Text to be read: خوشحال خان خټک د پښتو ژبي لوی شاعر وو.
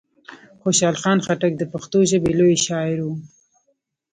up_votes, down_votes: 0, 2